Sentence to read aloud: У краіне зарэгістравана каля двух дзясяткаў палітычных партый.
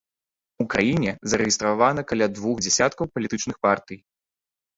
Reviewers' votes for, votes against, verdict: 2, 1, accepted